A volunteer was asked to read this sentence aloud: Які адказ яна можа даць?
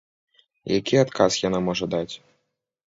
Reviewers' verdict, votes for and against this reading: accepted, 2, 0